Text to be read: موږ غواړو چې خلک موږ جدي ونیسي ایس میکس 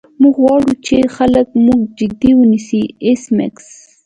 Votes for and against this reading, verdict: 2, 0, accepted